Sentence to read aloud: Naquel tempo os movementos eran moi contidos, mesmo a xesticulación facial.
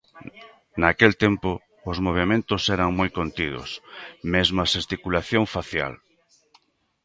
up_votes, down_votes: 2, 0